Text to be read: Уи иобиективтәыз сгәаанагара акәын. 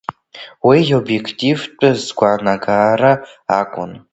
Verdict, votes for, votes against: rejected, 1, 2